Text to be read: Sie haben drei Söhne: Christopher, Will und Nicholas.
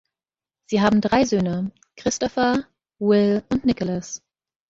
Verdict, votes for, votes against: accepted, 2, 0